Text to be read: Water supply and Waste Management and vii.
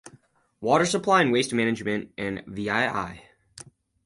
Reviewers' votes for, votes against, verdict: 4, 2, accepted